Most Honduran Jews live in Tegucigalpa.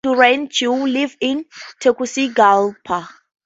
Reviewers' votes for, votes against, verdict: 2, 2, rejected